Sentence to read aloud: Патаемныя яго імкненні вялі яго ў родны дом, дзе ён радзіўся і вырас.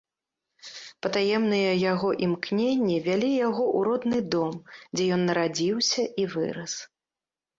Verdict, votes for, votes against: rejected, 0, 2